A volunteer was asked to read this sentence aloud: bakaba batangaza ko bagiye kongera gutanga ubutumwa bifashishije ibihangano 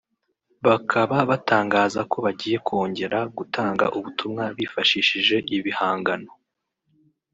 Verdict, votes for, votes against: accepted, 2, 0